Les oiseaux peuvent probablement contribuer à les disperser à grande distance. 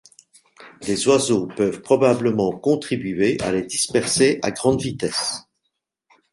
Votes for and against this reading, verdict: 1, 2, rejected